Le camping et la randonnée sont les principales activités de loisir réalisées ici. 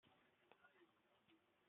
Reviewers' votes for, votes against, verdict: 0, 2, rejected